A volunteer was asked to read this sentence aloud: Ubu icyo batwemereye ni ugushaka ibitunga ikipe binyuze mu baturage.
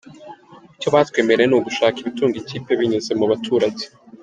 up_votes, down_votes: 1, 2